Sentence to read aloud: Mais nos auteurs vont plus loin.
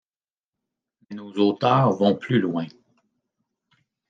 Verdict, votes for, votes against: rejected, 0, 2